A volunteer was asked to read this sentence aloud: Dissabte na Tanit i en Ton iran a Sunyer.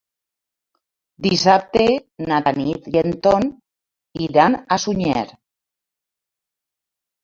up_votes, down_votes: 2, 1